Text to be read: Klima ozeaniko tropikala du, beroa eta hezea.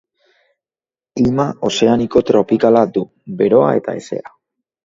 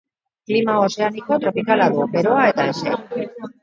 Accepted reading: first